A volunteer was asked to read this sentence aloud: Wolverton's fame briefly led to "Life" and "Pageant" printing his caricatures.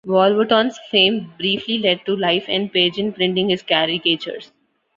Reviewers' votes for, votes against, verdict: 2, 0, accepted